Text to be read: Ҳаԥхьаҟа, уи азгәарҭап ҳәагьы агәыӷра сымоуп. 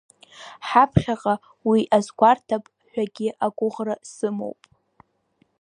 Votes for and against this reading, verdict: 2, 0, accepted